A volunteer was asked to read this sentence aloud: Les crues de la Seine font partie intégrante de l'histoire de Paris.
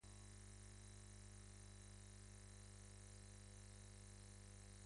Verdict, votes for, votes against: rejected, 0, 2